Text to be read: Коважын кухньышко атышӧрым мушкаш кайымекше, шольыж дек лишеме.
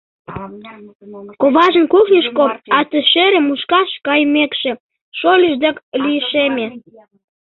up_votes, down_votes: 0, 2